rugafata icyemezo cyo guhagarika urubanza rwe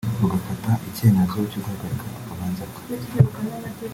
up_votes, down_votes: 1, 2